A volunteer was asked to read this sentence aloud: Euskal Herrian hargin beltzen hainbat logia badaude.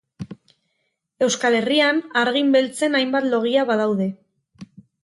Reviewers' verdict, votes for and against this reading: accepted, 4, 0